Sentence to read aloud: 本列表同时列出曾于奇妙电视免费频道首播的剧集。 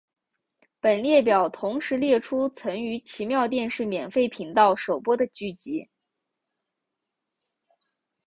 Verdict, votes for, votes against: accepted, 3, 0